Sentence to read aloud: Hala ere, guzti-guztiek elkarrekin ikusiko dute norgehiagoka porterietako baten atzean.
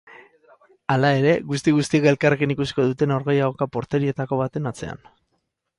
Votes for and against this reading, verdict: 2, 2, rejected